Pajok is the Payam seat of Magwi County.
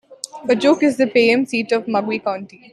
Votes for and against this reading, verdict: 2, 1, accepted